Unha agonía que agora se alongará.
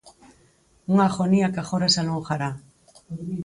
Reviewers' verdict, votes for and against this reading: rejected, 2, 4